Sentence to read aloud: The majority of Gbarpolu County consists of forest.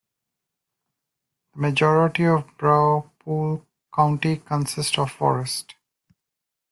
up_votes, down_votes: 0, 2